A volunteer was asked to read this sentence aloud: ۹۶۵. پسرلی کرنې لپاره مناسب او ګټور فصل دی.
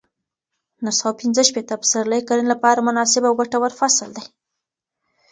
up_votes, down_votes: 0, 2